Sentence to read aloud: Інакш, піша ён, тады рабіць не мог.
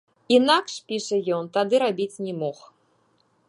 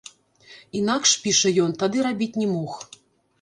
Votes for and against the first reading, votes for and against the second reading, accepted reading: 2, 0, 1, 2, first